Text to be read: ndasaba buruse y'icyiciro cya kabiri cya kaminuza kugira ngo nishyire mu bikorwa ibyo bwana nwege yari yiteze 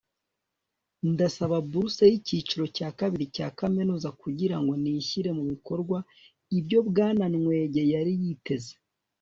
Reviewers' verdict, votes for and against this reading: accepted, 3, 0